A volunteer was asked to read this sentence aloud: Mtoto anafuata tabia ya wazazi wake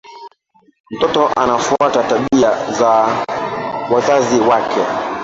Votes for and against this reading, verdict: 0, 2, rejected